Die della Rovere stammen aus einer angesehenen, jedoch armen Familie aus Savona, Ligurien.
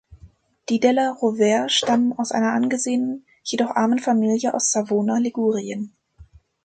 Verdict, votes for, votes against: accepted, 2, 0